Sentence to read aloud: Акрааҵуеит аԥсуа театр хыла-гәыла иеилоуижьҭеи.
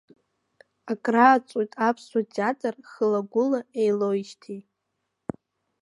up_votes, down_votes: 1, 2